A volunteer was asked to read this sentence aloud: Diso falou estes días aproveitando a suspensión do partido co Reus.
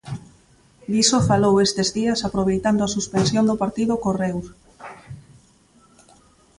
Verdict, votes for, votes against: accepted, 2, 0